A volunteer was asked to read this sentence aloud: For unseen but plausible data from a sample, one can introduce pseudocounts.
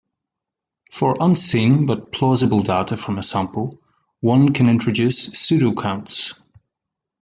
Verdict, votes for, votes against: rejected, 1, 2